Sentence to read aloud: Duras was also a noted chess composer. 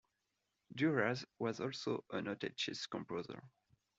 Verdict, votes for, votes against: accepted, 2, 0